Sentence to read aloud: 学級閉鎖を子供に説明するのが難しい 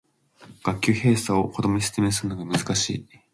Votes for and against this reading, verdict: 2, 0, accepted